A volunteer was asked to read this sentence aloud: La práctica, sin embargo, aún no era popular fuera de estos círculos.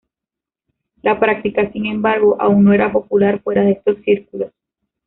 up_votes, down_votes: 1, 2